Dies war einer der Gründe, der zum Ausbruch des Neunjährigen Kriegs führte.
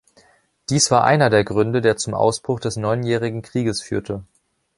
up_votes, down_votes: 1, 2